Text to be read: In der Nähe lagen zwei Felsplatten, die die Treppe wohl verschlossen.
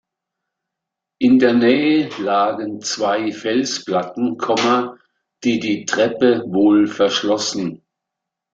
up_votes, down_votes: 0, 2